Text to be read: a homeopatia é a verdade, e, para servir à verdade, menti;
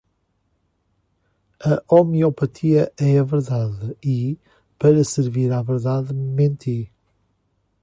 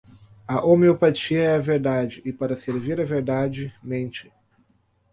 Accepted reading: first